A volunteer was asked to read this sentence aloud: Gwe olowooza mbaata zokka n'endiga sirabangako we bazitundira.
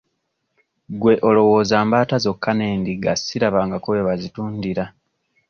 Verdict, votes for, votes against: rejected, 1, 2